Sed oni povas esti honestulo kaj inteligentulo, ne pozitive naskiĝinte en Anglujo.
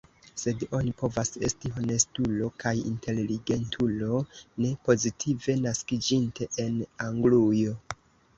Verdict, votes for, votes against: rejected, 0, 2